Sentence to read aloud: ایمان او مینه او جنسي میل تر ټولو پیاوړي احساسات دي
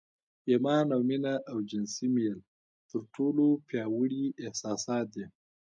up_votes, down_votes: 0, 2